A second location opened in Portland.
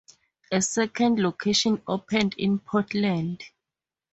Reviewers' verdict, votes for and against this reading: accepted, 4, 0